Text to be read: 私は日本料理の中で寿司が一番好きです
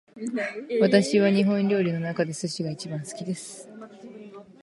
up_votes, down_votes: 2, 0